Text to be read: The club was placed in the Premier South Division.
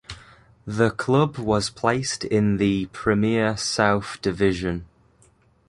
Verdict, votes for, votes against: accepted, 2, 0